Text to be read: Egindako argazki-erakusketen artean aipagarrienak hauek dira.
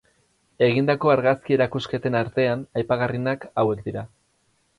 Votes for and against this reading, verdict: 4, 0, accepted